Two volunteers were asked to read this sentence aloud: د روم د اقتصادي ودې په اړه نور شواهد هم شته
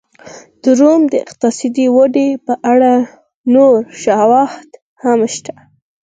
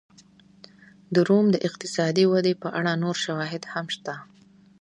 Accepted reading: second